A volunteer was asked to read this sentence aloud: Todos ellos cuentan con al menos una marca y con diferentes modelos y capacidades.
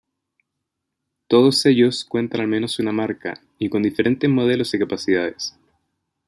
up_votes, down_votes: 0, 2